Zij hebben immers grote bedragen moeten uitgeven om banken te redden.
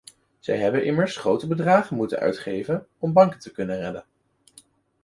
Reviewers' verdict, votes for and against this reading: rejected, 0, 2